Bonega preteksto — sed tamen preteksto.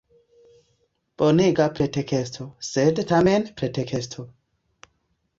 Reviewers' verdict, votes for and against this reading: rejected, 1, 2